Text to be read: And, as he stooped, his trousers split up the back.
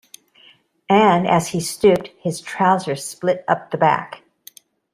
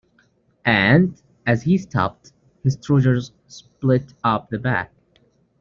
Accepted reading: first